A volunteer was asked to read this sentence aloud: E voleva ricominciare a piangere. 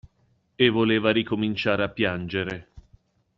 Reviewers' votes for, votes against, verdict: 2, 0, accepted